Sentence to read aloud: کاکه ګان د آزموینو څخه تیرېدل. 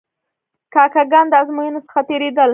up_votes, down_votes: 1, 2